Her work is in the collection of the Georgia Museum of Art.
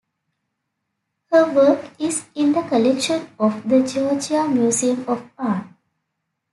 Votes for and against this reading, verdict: 2, 0, accepted